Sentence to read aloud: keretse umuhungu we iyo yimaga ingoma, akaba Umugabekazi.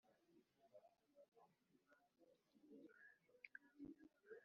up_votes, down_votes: 1, 2